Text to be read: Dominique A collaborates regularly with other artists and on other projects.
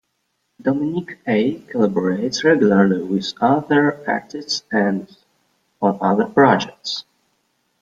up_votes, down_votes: 1, 2